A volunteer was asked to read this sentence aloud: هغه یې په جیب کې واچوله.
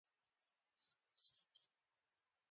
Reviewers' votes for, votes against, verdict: 0, 2, rejected